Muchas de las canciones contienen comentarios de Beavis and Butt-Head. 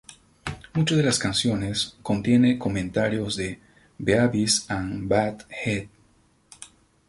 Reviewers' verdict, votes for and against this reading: rejected, 0, 2